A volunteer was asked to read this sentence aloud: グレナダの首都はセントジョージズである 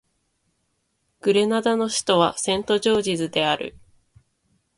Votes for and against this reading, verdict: 2, 0, accepted